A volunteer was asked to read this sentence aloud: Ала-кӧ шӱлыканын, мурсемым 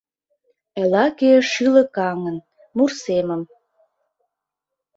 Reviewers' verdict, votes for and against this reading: rejected, 0, 2